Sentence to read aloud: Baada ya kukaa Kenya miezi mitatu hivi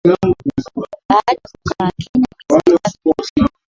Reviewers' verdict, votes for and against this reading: rejected, 0, 3